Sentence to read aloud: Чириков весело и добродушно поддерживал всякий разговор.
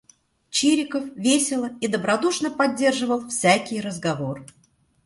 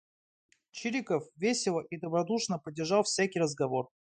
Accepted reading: first